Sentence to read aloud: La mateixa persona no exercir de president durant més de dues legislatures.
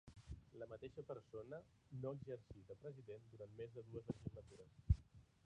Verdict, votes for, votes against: rejected, 0, 2